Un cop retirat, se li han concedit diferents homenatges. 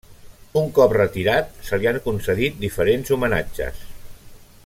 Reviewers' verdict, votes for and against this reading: rejected, 0, 2